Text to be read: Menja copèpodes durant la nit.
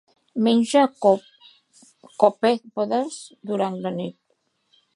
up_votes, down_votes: 1, 2